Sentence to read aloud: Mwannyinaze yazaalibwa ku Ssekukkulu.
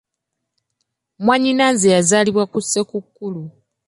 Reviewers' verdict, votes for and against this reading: rejected, 1, 2